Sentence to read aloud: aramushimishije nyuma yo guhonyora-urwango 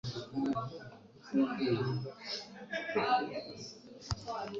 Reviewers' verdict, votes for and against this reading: rejected, 1, 2